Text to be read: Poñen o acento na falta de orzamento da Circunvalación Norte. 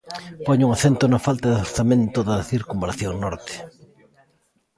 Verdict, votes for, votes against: accepted, 2, 1